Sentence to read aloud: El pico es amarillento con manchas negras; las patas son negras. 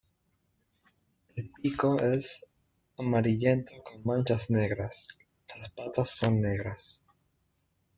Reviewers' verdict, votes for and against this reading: rejected, 1, 2